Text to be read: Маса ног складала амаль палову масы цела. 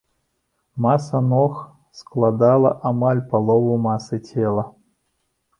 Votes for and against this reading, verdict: 2, 0, accepted